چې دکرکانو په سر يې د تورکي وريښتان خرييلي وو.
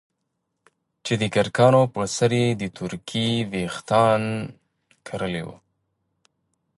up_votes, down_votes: 1, 2